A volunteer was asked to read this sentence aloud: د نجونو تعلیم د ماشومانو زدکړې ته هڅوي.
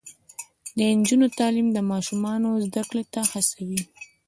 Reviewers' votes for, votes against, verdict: 1, 2, rejected